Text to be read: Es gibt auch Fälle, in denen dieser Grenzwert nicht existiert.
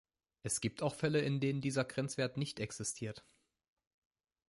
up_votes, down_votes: 2, 0